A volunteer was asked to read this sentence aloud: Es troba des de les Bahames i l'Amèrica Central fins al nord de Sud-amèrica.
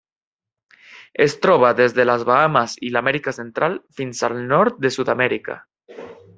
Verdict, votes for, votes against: accepted, 3, 0